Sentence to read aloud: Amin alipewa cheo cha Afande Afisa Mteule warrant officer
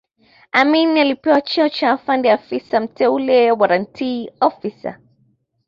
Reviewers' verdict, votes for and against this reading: accepted, 2, 0